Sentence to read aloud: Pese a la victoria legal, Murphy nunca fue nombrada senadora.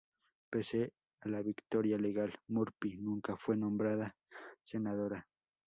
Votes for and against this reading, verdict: 0, 2, rejected